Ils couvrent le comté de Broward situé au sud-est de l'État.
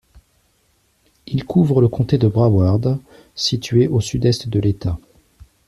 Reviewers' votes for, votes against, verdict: 2, 0, accepted